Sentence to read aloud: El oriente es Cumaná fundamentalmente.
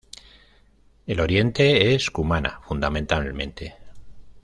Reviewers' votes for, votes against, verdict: 2, 0, accepted